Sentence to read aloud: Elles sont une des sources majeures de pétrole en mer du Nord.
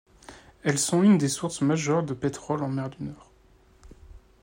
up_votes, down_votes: 1, 2